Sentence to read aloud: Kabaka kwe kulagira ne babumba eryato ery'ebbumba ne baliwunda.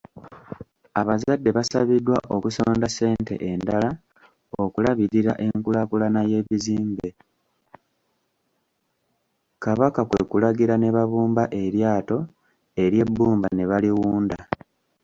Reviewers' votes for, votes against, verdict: 1, 2, rejected